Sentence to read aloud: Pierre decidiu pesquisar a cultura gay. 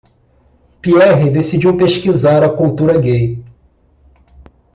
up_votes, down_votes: 2, 0